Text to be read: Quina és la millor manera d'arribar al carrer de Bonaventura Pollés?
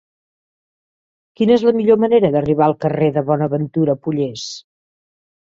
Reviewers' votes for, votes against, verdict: 4, 0, accepted